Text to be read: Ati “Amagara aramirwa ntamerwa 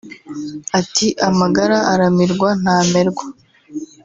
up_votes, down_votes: 3, 0